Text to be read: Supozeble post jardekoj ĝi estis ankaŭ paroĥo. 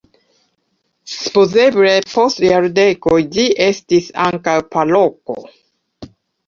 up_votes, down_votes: 0, 2